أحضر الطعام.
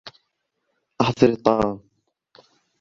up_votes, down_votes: 2, 0